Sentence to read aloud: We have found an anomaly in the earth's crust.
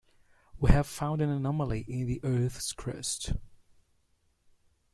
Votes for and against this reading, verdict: 2, 0, accepted